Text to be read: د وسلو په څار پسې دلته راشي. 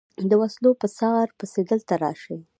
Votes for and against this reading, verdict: 2, 0, accepted